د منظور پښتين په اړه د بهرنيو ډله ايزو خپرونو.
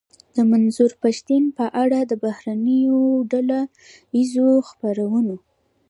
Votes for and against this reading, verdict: 1, 2, rejected